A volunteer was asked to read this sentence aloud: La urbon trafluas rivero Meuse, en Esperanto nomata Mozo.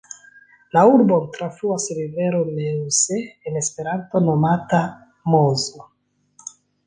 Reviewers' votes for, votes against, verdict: 1, 2, rejected